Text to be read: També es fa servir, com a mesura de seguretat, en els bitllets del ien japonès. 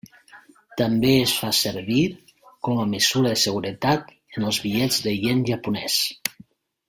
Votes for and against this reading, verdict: 1, 2, rejected